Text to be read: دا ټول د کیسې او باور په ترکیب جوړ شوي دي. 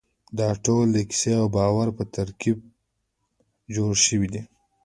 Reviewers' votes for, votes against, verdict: 0, 2, rejected